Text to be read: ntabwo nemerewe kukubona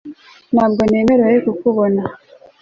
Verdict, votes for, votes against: accepted, 2, 0